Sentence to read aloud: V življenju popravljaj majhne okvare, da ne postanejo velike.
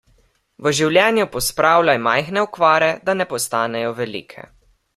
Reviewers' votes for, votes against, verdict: 0, 2, rejected